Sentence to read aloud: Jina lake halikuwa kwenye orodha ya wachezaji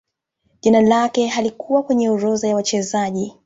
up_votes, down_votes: 2, 0